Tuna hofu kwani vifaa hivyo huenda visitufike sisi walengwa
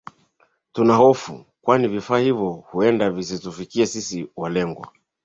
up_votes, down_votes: 2, 1